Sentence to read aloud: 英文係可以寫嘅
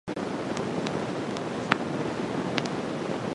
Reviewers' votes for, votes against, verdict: 0, 2, rejected